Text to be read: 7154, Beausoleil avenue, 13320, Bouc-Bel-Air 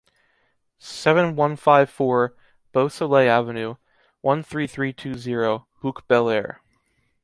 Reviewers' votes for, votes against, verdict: 0, 2, rejected